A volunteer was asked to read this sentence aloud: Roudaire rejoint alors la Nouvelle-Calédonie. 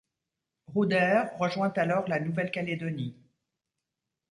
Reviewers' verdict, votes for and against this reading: accepted, 2, 0